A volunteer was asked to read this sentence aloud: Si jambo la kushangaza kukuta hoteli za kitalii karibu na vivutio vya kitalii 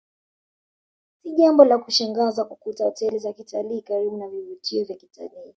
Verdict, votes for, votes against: rejected, 1, 2